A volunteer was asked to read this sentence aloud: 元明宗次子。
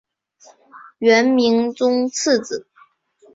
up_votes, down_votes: 2, 0